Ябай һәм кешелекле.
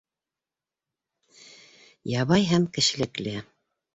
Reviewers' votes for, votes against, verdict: 2, 0, accepted